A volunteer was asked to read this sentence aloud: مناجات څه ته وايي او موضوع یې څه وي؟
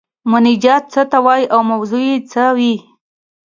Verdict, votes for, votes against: accepted, 4, 1